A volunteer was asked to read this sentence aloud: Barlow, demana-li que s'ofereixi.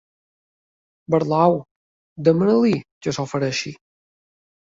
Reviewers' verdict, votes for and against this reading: accepted, 4, 1